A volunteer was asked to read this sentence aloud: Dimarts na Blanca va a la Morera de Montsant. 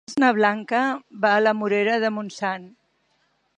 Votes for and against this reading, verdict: 0, 2, rejected